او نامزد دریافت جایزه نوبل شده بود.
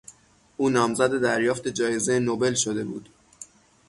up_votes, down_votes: 0, 3